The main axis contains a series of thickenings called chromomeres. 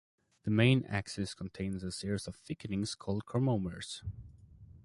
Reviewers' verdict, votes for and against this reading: accepted, 2, 0